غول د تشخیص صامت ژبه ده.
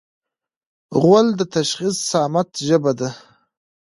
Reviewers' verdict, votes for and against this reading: rejected, 1, 2